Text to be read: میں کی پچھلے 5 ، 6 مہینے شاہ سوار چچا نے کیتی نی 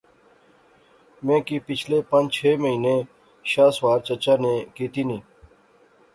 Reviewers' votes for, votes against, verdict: 0, 2, rejected